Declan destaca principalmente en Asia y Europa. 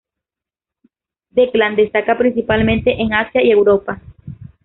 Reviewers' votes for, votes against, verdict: 0, 2, rejected